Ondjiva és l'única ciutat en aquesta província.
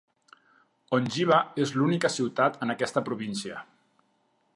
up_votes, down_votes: 2, 0